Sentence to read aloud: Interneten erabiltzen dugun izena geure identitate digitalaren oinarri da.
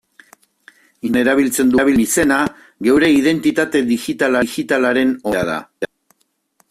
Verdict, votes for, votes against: rejected, 0, 3